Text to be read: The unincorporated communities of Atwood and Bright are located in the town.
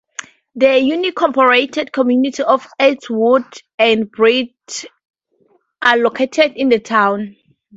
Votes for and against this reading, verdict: 0, 2, rejected